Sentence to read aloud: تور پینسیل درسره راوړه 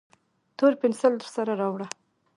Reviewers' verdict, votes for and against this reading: accepted, 2, 0